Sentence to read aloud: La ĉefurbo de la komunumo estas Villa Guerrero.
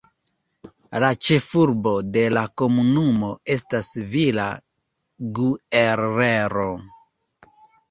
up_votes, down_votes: 2, 1